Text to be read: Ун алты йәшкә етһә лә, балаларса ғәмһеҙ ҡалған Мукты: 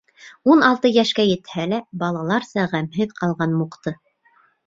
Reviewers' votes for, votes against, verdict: 2, 0, accepted